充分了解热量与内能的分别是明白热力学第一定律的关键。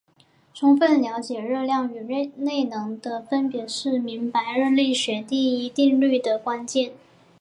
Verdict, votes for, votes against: accepted, 7, 1